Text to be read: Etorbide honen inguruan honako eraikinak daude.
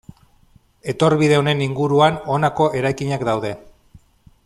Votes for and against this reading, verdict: 2, 1, accepted